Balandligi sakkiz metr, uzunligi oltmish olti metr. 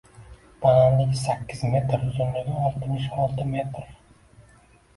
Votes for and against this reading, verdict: 2, 0, accepted